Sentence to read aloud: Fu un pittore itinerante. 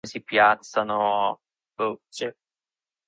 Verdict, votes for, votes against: rejected, 0, 2